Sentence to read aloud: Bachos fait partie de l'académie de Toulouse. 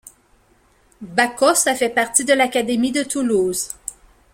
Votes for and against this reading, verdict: 0, 2, rejected